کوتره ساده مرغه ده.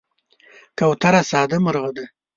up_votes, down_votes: 2, 0